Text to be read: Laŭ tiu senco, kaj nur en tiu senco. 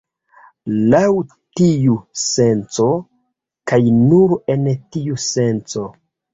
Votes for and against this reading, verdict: 2, 1, accepted